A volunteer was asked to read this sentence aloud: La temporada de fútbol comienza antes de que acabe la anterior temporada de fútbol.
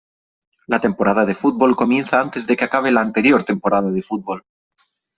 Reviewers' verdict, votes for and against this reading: accepted, 3, 0